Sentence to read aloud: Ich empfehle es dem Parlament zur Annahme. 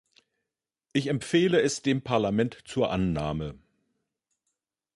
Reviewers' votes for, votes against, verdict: 2, 0, accepted